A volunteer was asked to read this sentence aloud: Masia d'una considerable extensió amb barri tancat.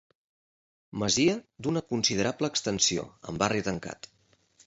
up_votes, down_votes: 2, 0